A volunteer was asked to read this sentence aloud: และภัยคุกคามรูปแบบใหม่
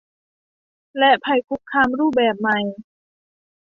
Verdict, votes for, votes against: accepted, 2, 0